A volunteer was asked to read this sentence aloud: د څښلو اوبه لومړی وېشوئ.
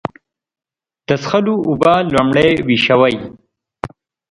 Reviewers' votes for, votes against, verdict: 2, 0, accepted